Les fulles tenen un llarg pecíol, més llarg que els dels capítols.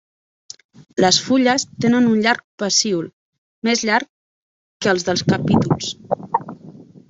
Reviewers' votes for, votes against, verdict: 1, 2, rejected